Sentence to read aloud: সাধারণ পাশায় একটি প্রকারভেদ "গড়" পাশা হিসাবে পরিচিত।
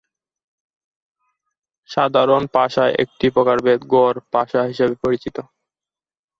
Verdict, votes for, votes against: rejected, 0, 2